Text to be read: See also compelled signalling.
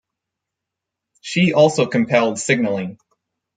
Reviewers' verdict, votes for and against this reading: rejected, 2, 4